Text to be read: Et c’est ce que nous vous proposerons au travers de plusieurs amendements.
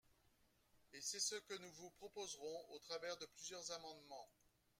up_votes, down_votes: 0, 2